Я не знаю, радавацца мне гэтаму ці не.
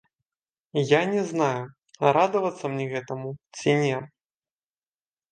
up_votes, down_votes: 0, 2